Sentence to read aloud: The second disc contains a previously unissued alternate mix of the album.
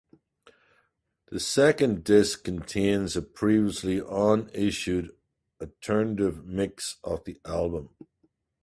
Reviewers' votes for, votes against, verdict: 0, 4, rejected